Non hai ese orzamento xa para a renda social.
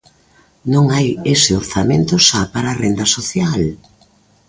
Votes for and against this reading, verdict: 2, 0, accepted